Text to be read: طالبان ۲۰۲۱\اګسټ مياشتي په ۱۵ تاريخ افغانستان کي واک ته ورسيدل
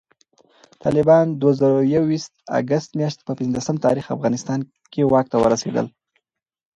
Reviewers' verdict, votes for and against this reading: rejected, 0, 2